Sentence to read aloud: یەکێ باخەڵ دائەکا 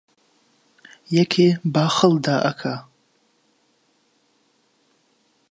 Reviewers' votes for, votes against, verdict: 2, 0, accepted